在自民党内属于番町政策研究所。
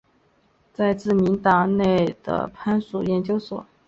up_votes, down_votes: 2, 3